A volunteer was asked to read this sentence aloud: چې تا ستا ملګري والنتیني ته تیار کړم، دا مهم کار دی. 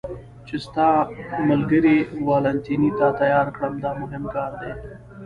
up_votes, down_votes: 2, 1